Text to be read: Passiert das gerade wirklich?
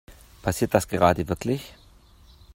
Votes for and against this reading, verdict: 2, 0, accepted